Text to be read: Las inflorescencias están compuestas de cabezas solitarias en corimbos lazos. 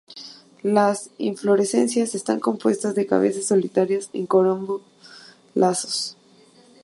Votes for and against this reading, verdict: 0, 2, rejected